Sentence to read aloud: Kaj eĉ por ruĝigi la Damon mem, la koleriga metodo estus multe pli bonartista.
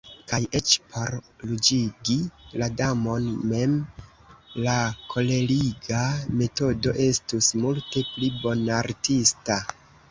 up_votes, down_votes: 2, 1